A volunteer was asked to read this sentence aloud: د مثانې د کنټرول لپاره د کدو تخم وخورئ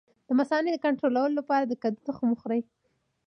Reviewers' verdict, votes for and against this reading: accepted, 2, 1